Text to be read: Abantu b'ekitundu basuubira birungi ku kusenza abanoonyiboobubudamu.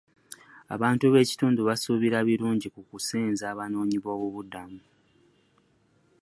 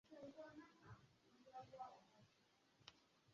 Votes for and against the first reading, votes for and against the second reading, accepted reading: 2, 0, 1, 2, first